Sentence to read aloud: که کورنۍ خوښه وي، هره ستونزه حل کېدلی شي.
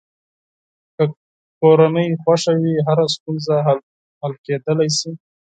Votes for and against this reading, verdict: 2, 4, rejected